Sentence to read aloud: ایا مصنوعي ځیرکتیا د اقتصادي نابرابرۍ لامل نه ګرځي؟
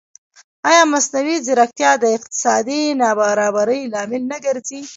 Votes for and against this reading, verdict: 0, 2, rejected